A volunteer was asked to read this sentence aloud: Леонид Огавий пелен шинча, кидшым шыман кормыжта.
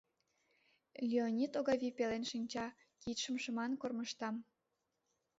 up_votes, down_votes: 2, 1